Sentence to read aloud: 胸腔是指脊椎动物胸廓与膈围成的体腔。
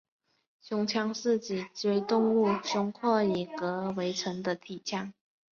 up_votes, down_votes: 2, 3